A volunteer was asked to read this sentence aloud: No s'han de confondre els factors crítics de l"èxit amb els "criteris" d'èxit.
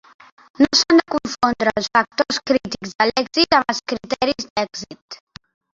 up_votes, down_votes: 2, 4